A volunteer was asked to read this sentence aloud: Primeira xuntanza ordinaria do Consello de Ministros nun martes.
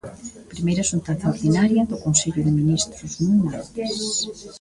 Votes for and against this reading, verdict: 0, 2, rejected